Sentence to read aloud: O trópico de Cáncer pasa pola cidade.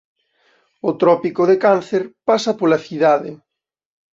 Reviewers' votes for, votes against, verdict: 2, 0, accepted